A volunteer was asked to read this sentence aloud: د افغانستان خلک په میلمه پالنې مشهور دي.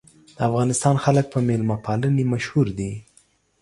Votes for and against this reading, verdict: 2, 0, accepted